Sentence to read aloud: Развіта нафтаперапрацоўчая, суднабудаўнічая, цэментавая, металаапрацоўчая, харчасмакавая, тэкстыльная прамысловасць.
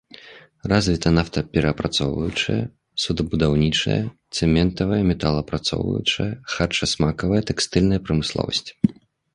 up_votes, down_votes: 0, 2